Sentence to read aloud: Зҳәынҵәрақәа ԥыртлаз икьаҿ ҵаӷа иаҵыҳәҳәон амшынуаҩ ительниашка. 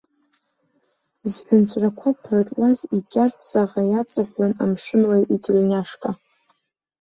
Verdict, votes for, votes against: rejected, 1, 2